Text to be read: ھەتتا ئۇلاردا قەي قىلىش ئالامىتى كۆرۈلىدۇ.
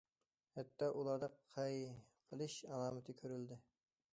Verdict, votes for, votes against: rejected, 1, 2